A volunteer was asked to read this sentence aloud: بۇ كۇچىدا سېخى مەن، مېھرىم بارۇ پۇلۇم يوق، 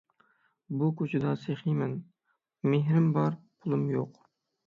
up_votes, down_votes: 6, 3